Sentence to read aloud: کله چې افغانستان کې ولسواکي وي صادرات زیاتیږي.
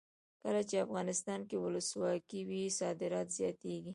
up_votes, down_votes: 0, 2